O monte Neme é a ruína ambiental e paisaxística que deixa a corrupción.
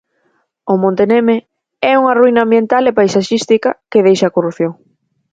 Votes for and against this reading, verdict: 0, 4, rejected